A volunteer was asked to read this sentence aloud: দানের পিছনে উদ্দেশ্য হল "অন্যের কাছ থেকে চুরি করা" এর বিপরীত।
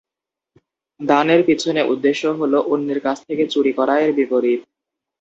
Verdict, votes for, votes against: accepted, 2, 0